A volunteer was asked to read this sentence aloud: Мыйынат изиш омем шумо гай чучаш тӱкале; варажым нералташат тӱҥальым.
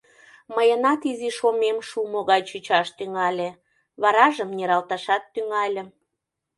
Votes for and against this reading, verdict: 0, 2, rejected